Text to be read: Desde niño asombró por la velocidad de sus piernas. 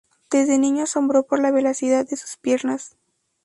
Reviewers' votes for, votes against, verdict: 2, 0, accepted